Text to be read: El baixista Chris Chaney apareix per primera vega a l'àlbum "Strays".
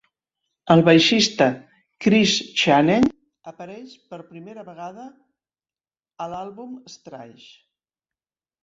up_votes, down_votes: 2, 3